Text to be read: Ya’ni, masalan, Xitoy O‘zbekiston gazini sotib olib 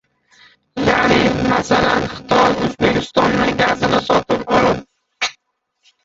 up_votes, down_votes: 0, 2